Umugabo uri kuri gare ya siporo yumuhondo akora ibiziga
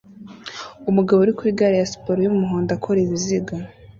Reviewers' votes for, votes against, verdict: 2, 0, accepted